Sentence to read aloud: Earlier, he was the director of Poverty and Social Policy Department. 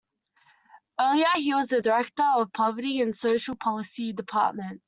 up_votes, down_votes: 2, 0